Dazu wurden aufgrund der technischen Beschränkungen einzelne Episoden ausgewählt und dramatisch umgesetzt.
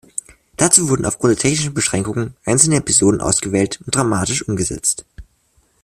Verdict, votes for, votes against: rejected, 0, 2